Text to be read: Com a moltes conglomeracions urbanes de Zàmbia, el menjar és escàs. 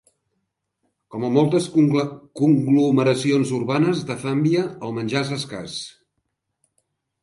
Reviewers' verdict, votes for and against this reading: rejected, 0, 2